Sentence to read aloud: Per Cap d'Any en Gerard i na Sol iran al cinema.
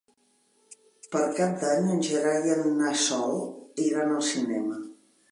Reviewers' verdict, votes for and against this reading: rejected, 0, 2